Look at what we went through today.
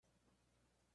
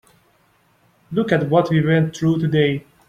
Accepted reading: second